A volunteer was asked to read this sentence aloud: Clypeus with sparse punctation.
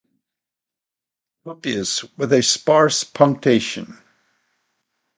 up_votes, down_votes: 2, 2